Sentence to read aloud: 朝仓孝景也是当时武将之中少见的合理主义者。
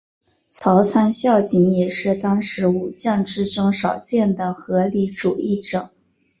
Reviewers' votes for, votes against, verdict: 2, 1, accepted